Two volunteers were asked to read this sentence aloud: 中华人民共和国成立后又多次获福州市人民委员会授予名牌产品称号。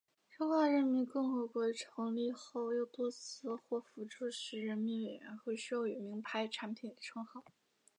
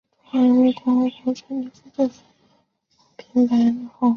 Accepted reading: first